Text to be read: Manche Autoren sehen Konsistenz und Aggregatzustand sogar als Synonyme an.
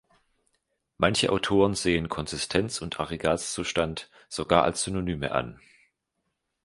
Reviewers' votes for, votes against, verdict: 2, 0, accepted